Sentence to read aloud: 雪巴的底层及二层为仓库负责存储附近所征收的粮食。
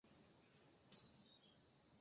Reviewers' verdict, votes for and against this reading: rejected, 0, 2